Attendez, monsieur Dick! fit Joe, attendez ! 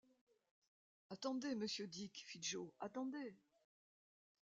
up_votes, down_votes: 2, 0